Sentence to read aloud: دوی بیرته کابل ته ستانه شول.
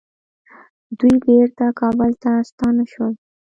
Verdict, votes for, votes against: accepted, 2, 0